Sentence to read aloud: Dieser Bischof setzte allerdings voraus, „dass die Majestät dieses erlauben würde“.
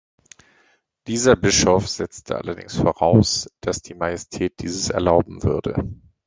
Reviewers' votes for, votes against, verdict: 2, 0, accepted